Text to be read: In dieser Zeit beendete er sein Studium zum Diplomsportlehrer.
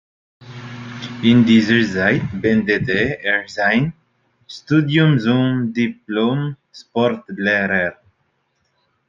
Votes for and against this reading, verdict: 0, 2, rejected